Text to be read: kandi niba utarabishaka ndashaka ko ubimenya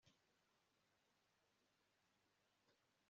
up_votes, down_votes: 0, 2